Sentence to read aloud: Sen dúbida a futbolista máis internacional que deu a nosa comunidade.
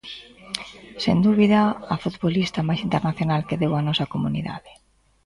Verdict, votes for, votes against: accepted, 2, 0